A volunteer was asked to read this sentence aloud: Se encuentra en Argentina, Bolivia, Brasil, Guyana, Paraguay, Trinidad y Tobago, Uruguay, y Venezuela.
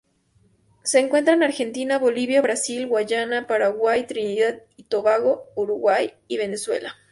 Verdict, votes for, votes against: accepted, 2, 0